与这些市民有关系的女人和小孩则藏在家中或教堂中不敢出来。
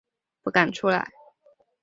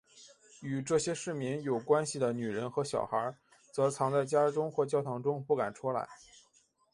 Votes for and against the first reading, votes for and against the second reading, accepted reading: 0, 2, 3, 1, second